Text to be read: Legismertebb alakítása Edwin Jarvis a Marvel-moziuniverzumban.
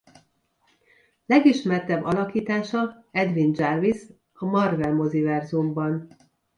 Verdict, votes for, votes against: rejected, 0, 2